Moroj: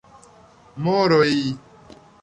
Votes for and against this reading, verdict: 2, 0, accepted